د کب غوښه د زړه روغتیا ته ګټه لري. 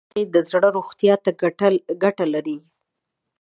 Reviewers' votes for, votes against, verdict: 2, 0, accepted